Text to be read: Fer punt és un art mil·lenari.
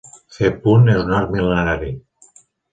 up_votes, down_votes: 1, 2